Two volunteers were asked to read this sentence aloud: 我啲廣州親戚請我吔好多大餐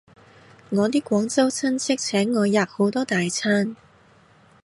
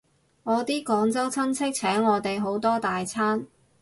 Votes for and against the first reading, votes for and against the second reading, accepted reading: 2, 0, 0, 2, first